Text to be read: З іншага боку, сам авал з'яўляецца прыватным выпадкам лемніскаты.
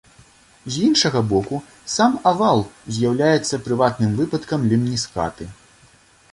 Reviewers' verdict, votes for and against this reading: accepted, 2, 0